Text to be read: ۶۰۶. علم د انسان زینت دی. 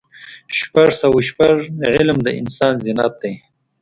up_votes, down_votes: 0, 2